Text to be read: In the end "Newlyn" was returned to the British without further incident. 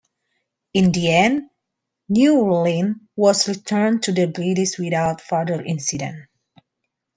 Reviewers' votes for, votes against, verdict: 2, 0, accepted